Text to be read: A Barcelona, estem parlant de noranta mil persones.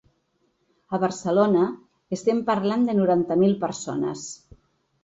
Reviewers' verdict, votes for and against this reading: accepted, 2, 0